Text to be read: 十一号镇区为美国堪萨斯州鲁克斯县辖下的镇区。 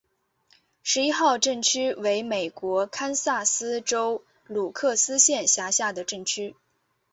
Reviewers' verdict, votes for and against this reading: accepted, 5, 0